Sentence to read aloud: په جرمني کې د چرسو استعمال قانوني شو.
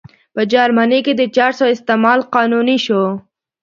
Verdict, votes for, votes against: accepted, 3, 0